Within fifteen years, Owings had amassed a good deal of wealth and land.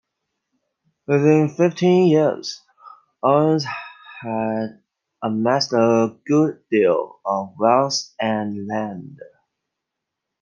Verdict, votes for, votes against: accepted, 2, 0